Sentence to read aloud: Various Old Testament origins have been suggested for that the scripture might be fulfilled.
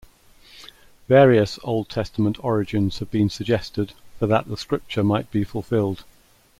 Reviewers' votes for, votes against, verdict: 2, 0, accepted